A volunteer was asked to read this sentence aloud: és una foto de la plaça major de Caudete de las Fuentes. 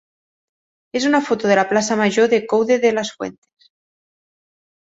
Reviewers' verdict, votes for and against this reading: rejected, 1, 3